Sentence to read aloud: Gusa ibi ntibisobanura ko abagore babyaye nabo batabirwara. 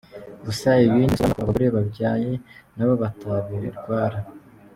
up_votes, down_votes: 0, 2